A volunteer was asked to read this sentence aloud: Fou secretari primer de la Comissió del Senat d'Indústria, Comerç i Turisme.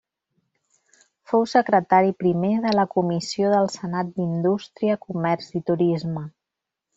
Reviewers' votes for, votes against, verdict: 3, 0, accepted